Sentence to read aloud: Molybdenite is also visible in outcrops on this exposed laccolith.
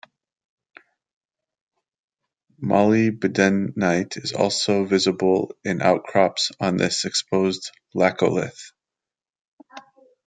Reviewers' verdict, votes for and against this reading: rejected, 0, 2